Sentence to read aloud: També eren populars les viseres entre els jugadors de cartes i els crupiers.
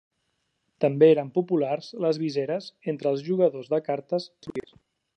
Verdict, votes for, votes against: rejected, 0, 2